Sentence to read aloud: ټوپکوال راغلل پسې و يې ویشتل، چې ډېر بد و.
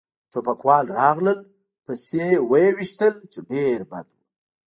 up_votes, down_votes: 1, 2